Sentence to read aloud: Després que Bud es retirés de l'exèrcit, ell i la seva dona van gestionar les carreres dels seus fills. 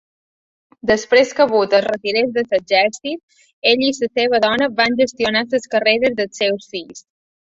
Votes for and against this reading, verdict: 1, 2, rejected